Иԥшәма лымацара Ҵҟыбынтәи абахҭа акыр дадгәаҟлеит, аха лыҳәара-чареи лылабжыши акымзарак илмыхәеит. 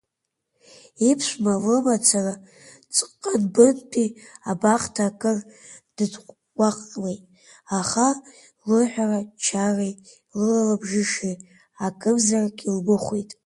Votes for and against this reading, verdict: 1, 2, rejected